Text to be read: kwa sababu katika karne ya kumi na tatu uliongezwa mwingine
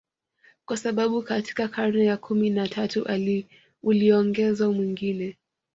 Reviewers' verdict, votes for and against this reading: accepted, 2, 1